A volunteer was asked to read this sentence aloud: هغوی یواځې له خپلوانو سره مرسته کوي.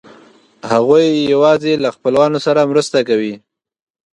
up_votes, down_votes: 2, 0